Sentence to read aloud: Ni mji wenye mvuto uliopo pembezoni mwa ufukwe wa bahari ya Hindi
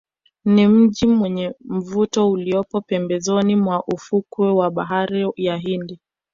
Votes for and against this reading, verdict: 2, 0, accepted